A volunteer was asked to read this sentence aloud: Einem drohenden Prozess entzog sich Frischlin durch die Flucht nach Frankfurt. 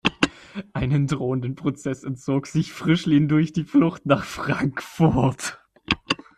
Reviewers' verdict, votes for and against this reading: rejected, 1, 2